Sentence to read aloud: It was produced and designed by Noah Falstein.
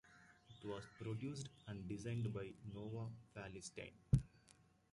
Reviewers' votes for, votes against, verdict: 1, 2, rejected